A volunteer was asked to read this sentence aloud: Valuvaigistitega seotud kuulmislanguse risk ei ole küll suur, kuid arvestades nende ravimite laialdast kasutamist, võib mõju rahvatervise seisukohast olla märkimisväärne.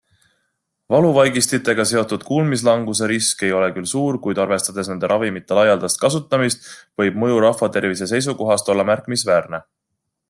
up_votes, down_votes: 2, 0